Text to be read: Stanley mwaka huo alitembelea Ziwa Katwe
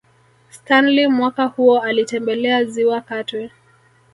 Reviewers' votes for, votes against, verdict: 4, 0, accepted